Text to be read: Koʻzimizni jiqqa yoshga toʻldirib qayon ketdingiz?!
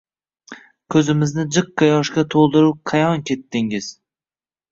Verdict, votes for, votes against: rejected, 1, 2